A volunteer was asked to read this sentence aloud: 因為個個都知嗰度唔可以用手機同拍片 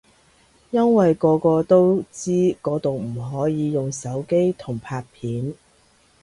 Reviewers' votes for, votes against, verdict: 2, 0, accepted